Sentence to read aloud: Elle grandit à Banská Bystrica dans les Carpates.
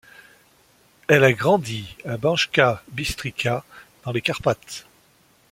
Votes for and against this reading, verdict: 1, 2, rejected